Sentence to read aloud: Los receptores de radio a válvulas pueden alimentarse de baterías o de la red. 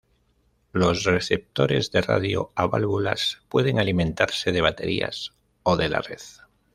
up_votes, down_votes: 2, 0